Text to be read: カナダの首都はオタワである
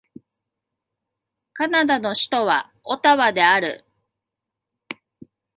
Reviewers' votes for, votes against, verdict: 1, 2, rejected